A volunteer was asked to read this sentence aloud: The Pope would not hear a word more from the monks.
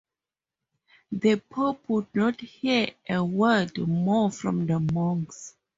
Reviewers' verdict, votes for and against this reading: accepted, 2, 0